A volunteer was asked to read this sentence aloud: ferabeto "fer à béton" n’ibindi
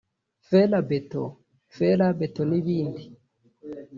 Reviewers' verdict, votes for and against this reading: rejected, 1, 2